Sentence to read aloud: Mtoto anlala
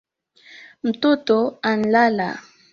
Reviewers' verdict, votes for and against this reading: accepted, 3, 0